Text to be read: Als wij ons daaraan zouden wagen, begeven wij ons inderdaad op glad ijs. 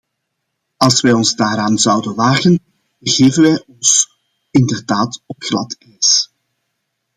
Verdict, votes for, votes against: accepted, 2, 1